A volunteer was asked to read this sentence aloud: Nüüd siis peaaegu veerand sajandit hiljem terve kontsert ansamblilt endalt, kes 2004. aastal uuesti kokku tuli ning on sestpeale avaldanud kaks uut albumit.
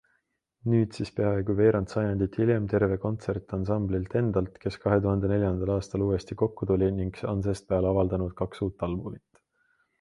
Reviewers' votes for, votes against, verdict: 0, 2, rejected